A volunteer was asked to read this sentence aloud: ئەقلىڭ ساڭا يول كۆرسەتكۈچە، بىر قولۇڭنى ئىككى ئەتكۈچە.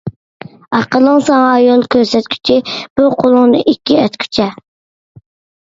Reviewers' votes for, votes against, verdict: 2, 1, accepted